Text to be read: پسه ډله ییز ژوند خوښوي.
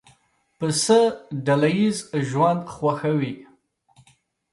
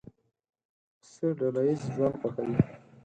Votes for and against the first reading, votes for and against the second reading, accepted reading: 2, 0, 2, 4, first